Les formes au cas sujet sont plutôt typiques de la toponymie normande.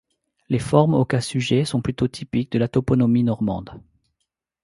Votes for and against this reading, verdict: 1, 2, rejected